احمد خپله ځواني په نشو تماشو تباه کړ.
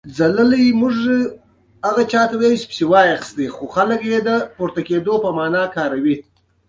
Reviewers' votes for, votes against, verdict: 1, 2, rejected